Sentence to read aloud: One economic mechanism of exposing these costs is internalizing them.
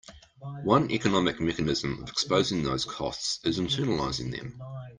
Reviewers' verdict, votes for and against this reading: rejected, 0, 2